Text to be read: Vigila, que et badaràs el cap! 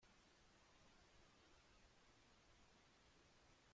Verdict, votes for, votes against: rejected, 0, 2